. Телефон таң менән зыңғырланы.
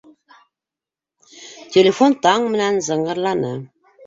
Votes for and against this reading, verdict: 2, 0, accepted